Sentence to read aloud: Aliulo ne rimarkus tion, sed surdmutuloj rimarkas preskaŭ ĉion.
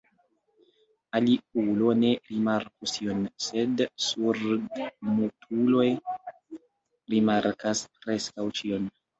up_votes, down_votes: 0, 3